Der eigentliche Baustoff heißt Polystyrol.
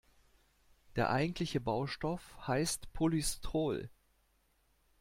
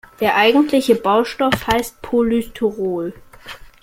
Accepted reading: second